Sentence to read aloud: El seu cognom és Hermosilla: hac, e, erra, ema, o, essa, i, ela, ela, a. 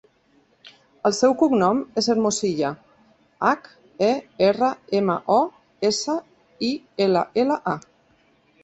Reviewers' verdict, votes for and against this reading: accepted, 2, 0